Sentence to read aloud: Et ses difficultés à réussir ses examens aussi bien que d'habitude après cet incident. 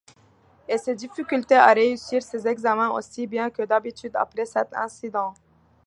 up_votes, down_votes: 2, 0